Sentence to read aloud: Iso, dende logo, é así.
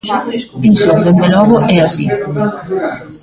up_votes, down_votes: 0, 2